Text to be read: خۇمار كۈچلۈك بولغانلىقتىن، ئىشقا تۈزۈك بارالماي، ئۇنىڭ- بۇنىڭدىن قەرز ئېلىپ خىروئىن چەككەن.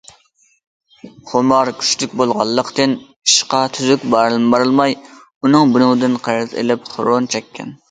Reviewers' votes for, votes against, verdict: 0, 2, rejected